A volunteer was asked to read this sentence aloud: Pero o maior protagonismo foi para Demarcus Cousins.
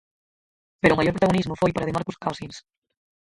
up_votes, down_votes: 0, 4